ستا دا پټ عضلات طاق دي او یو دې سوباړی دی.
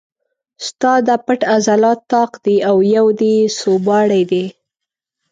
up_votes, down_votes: 2, 0